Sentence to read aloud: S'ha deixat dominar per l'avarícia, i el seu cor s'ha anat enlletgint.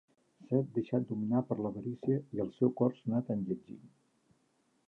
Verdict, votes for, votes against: rejected, 1, 2